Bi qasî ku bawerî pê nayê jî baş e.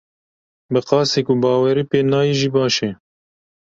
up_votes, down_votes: 2, 0